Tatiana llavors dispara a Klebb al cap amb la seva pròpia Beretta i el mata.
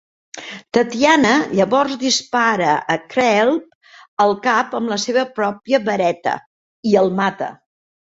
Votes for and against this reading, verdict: 1, 2, rejected